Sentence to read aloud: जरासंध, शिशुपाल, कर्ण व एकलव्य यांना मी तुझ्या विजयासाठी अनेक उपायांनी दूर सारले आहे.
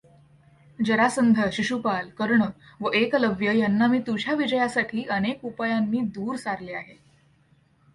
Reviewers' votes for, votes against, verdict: 2, 0, accepted